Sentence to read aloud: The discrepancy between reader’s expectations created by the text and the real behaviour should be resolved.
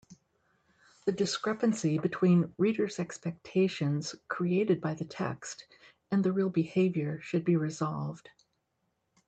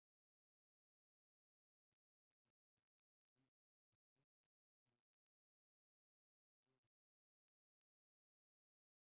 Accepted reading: first